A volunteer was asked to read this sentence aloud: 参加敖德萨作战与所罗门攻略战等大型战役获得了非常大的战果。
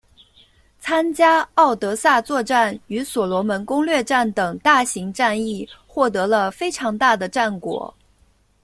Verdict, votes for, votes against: accepted, 2, 0